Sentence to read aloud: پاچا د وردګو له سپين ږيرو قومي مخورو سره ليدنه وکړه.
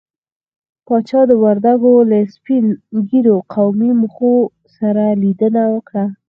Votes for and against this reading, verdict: 0, 4, rejected